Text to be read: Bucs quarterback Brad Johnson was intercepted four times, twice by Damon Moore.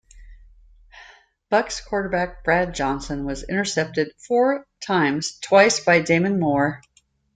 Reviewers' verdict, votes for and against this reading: accepted, 2, 0